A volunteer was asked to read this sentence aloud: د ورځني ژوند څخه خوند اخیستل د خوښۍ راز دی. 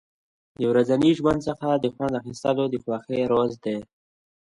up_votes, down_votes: 2, 0